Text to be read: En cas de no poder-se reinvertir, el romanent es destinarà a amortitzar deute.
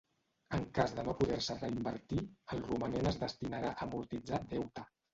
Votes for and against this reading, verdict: 0, 2, rejected